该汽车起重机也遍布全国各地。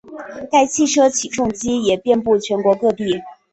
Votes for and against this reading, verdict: 5, 0, accepted